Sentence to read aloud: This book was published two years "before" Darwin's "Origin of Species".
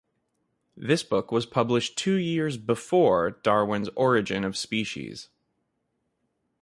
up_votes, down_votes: 2, 0